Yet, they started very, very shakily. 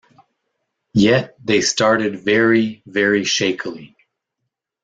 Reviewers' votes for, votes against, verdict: 2, 0, accepted